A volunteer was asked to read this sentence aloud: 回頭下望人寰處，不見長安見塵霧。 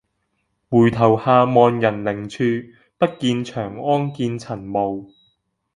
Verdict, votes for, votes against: rejected, 0, 2